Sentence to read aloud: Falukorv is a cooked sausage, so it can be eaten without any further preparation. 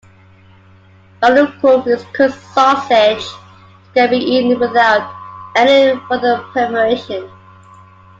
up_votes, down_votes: 1, 2